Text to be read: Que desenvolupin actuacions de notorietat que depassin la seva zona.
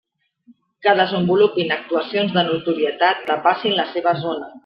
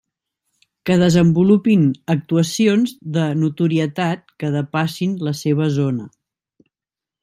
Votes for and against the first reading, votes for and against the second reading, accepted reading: 0, 2, 2, 0, second